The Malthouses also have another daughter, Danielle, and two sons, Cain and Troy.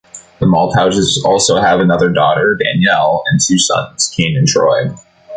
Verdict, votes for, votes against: accepted, 2, 0